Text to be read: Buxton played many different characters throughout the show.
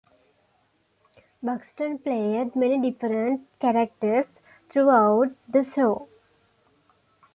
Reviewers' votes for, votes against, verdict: 2, 0, accepted